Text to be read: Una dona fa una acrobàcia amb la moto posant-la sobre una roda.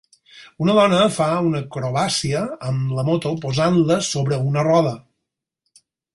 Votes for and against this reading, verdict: 6, 0, accepted